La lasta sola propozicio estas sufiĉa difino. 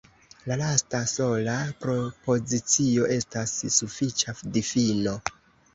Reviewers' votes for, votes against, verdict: 0, 2, rejected